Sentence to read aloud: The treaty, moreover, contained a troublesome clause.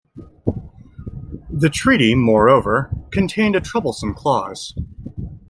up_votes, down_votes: 2, 0